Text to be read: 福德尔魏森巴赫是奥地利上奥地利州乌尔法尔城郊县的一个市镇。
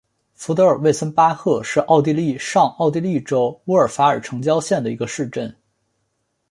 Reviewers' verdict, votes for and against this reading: accepted, 3, 0